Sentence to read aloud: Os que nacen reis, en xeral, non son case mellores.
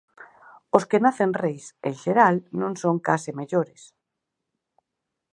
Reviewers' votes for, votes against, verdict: 4, 0, accepted